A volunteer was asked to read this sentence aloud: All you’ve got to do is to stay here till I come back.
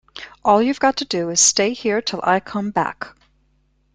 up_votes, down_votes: 2, 1